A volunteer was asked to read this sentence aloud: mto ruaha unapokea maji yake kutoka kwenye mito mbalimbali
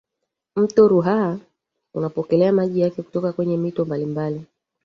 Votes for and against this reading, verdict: 1, 2, rejected